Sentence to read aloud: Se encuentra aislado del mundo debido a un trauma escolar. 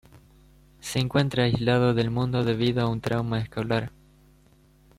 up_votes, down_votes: 1, 2